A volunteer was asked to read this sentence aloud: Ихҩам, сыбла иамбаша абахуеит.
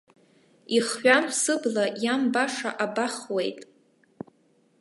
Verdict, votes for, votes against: accepted, 2, 0